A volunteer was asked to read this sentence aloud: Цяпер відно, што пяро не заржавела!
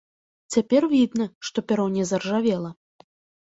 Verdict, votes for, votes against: rejected, 1, 2